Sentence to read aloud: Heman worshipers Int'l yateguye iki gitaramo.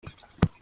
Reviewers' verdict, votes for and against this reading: rejected, 0, 2